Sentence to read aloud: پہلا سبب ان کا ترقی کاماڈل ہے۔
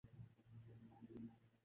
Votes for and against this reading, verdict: 0, 2, rejected